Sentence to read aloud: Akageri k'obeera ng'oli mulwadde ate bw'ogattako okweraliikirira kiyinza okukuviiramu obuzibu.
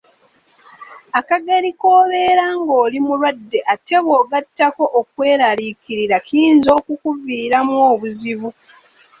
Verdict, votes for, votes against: accepted, 2, 1